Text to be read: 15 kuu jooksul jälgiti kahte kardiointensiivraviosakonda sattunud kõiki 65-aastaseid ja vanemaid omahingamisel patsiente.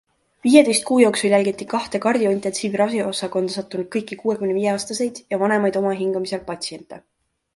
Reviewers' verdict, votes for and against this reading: rejected, 0, 2